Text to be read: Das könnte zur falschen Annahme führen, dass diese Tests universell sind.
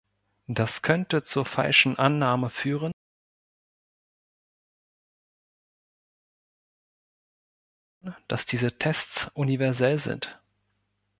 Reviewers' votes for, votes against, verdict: 1, 2, rejected